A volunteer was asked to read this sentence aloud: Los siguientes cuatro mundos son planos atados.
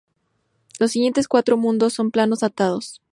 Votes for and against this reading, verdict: 2, 0, accepted